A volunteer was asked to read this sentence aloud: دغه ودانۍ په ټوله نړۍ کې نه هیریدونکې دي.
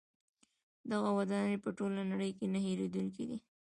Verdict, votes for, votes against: accepted, 2, 0